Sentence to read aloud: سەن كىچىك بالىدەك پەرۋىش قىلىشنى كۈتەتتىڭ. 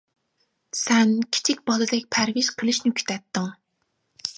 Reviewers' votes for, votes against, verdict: 2, 0, accepted